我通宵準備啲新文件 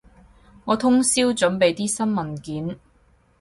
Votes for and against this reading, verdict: 6, 0, accepted